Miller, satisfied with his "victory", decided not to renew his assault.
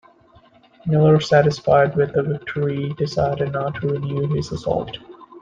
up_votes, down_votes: 1, 2